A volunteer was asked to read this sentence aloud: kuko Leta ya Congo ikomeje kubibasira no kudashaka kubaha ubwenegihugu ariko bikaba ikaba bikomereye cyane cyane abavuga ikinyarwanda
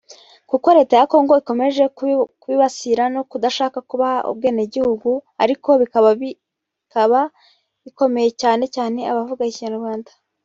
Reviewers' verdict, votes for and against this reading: rejected, 0, 2